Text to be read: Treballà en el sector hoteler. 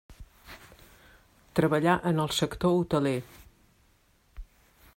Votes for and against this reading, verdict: 3, 0, accepted